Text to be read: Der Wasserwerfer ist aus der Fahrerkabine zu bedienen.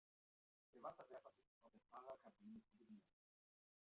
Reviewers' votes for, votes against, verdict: 0, 2, rejected